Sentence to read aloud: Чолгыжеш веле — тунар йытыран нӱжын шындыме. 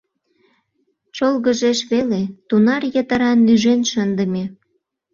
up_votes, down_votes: 1, 2